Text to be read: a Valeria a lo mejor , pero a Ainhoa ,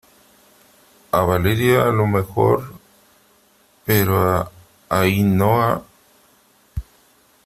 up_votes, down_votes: 3, 0